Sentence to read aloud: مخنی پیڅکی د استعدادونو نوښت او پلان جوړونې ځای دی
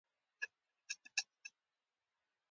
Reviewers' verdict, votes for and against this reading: rejected, 0, 2